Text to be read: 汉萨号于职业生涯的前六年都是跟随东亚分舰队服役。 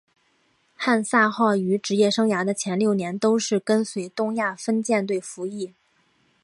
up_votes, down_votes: 3, 0